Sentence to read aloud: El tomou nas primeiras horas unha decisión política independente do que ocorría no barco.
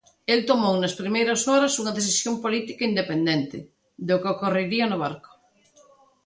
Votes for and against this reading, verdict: 0, 2, rejected